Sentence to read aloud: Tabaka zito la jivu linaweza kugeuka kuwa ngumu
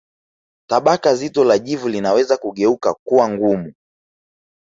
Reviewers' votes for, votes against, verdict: 3, 0, accepted